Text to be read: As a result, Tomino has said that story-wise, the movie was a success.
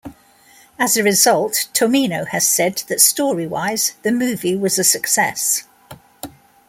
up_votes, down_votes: 2, 0